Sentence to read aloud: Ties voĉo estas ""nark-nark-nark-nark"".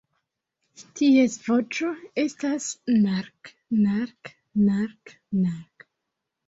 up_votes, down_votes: 2, 0